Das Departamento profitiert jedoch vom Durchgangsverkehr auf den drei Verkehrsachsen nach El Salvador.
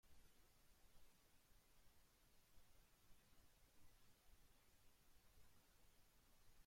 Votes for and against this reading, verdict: 0, 2, rejected